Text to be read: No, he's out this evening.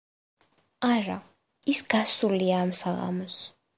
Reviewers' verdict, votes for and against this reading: rejected, 1, 2